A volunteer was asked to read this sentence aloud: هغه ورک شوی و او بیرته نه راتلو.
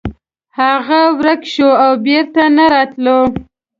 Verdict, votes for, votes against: rejected, 1, 2